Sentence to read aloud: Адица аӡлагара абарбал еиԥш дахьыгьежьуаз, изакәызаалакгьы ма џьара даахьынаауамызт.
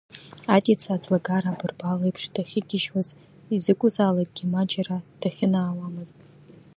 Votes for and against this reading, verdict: 2, 0, accepted